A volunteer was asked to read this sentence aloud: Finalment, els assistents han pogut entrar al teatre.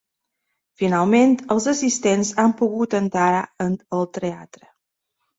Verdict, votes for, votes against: rejected, 0, 2